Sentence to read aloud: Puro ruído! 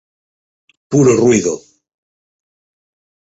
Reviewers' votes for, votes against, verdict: 4, 2, accepted